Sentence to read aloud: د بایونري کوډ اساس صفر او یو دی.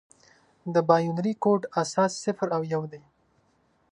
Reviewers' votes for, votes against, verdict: 2, 0, accepted